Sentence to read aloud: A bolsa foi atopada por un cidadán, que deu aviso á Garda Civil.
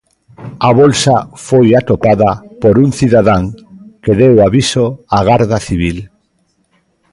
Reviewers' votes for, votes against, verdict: 2, 0, accepted